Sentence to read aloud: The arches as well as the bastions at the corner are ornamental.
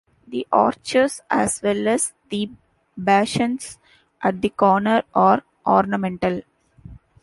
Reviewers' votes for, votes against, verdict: 2, 1, accepted